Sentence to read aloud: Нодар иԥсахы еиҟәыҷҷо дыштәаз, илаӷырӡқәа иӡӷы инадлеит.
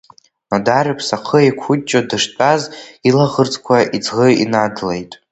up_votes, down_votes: 2, 1